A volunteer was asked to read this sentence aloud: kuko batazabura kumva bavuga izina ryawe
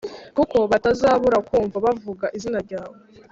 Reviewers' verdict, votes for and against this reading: accepted, 3, 0